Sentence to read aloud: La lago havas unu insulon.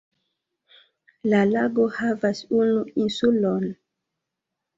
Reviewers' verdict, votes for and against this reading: accepted, 3, 1